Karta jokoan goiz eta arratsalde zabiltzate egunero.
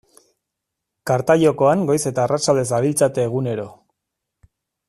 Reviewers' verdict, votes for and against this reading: accepted, 2, 0